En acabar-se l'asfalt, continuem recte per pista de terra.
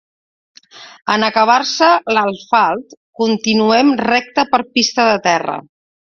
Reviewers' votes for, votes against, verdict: 0, 2, rejected